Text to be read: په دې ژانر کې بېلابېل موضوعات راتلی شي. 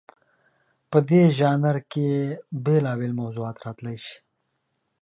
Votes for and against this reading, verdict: 2, 0, accepted